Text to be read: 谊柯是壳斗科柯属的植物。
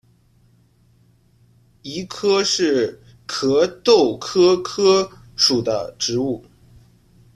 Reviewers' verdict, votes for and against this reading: rejected, 1, 2